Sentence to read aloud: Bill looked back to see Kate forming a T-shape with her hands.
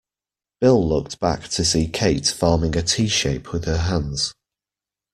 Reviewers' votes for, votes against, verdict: 2, 0, accepted